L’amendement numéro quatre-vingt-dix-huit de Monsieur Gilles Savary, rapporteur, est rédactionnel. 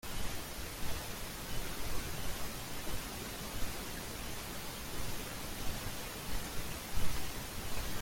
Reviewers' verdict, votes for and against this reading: rejected, 0, 2